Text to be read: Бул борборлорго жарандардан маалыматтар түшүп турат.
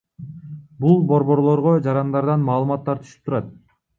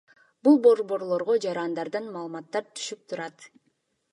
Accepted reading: second